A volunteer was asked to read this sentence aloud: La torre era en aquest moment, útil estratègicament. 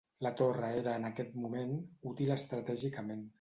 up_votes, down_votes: 2, 0